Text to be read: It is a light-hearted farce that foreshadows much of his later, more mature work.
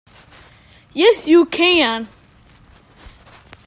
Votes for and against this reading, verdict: 0, 2, rejected